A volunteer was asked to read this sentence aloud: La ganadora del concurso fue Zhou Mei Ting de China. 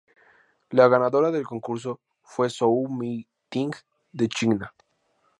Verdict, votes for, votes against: accepted, 2, 0